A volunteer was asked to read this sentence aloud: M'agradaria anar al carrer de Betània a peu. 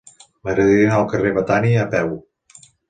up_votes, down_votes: 1, 2